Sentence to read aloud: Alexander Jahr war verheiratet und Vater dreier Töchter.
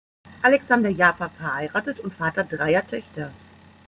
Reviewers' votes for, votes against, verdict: 1, 2, rejected